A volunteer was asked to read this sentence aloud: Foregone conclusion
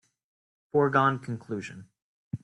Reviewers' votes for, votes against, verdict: 2, 0, accepted